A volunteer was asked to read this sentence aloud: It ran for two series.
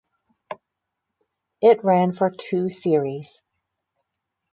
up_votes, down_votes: 0, 4